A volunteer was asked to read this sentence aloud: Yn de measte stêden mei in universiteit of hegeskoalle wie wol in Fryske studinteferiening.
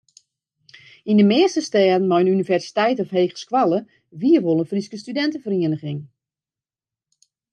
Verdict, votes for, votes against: rejected, 0, 2